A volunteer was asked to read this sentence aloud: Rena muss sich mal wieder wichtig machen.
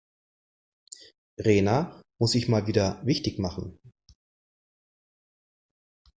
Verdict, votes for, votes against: accepted, 3, 1